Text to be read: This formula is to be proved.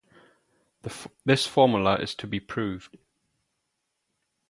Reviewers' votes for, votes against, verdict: 0, 2, rejected